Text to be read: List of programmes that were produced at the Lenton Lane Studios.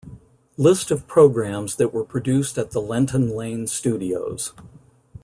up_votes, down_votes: 2, 0